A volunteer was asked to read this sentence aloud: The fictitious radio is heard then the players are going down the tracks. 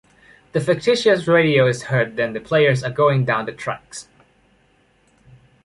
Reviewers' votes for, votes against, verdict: 2, 1, accepted